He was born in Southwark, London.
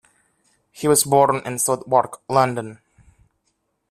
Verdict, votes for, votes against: rejected, 1, 2